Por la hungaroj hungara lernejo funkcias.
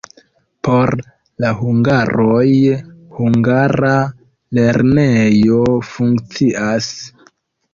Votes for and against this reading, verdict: 2, 1, accepted